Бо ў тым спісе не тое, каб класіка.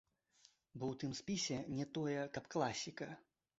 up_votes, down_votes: 2, 0